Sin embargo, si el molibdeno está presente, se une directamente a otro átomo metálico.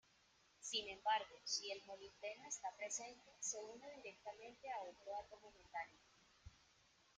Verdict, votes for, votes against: rejected, 1, 2